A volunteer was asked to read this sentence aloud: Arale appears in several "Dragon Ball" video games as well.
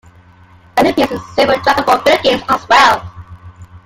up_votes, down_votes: 0, 2